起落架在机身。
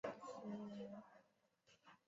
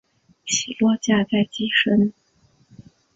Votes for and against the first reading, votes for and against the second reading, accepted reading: 2, 4, 2, 0, second